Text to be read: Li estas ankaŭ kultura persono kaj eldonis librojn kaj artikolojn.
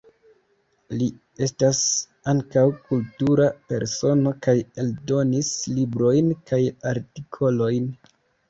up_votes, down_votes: 3, 1